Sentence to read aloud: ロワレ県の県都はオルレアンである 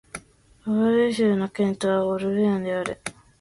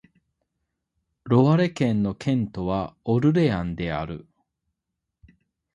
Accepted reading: second